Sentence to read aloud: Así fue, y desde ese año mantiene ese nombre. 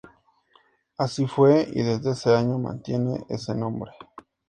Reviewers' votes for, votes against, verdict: 4, 0, accepted